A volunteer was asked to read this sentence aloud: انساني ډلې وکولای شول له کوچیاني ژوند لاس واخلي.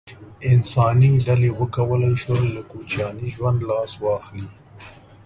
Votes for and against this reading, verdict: 2, 0, accepted